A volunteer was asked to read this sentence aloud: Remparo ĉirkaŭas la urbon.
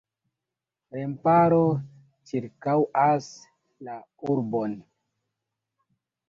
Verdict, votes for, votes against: accepted, 2, 0